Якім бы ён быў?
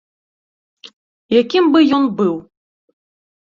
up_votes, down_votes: 2, 0